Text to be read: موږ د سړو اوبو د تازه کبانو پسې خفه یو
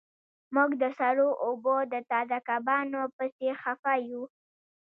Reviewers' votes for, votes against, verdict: 2, 0, accepted